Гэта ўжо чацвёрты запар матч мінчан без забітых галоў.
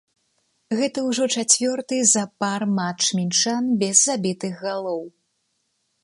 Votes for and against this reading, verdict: 1, 2, rejected